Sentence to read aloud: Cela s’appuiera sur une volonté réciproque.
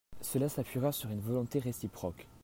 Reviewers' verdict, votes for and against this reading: accepted, 2, 0